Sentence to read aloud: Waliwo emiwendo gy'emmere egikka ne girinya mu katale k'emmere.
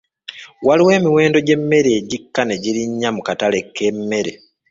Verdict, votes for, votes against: rejected, 1, 2